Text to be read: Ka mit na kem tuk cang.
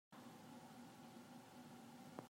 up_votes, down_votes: 0, 2